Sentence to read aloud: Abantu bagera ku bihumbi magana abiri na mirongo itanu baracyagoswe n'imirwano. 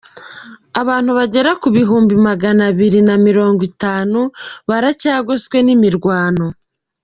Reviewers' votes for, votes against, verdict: 2, 0, accepted